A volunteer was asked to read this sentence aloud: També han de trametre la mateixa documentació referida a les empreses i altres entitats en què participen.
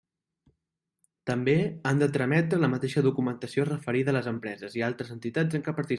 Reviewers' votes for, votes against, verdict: 0, 2, rejected